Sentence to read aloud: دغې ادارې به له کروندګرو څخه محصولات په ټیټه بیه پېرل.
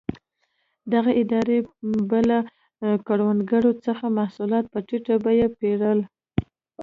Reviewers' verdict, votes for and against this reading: accepted, 2, 0